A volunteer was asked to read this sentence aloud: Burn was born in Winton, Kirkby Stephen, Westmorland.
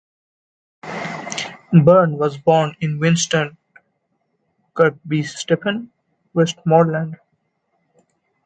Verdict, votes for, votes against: rejected, 0, 2